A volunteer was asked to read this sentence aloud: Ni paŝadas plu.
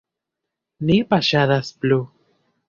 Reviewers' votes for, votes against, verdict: 1, 2, rejected